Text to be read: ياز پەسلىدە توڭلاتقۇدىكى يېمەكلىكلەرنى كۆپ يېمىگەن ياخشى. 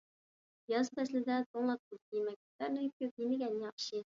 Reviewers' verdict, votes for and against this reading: rejected, 1, 2